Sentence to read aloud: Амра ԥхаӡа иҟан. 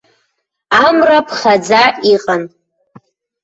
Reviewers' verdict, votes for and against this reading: rejected, 1, 2